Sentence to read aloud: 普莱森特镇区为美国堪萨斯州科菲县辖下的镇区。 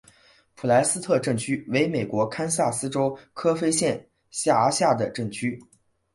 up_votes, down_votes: 3, 0